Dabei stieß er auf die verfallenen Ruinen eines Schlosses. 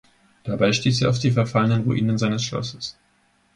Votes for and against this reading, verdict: 0, 2, rejected